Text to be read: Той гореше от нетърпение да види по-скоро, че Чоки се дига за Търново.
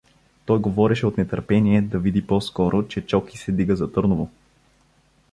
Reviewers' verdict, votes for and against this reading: rejected, 1, 2